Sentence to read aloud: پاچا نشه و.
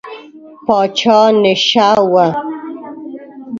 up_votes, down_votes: 1, 2